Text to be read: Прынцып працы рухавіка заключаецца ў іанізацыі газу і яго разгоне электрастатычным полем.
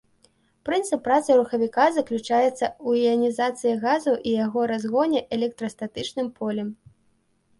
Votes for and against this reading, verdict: 2, 0, accepted